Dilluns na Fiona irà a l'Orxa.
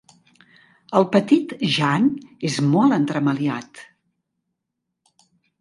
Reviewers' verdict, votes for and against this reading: rejected, 1, 2